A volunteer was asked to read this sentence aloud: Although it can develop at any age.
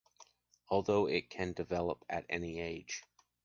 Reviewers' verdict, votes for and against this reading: accepted, 2, 0